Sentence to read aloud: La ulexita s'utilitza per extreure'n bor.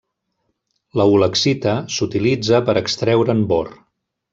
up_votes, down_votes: 3, 0